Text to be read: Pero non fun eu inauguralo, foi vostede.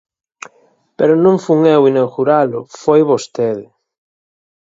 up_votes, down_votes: 4, 0